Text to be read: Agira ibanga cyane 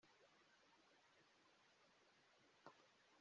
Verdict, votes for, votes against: rejected, 0, 3